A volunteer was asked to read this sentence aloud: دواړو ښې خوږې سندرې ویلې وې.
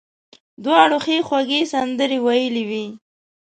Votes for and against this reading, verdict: 2, 0, accepted